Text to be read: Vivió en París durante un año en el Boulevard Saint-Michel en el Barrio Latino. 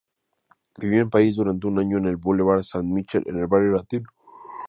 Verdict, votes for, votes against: accepted, 2, 0